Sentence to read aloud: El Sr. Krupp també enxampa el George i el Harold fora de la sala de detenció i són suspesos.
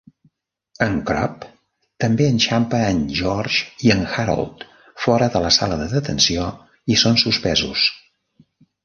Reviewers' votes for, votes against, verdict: 1, 2, rejected